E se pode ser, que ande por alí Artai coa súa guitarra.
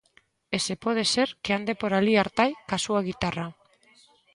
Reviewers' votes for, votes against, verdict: 1, 2, rejected